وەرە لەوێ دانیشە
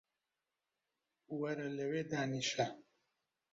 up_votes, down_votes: 2, 0